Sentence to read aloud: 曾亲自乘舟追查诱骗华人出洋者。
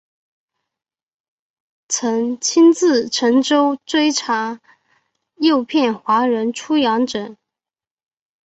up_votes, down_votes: 2, 0